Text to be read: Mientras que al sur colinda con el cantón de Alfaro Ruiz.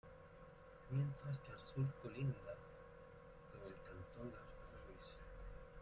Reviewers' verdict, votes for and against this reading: rejected, 1, 2